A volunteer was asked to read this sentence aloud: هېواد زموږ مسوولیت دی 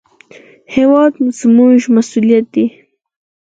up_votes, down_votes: 0, 4